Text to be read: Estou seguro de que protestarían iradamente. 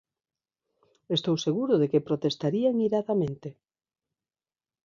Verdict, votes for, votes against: rejected, 1, 2